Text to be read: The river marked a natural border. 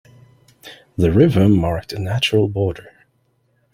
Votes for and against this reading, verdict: 2, 0, accepted